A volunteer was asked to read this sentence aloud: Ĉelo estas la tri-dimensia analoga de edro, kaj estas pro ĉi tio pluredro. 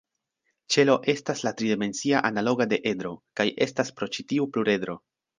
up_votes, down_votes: 2, 0